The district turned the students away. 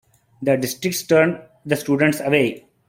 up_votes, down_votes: 2, 0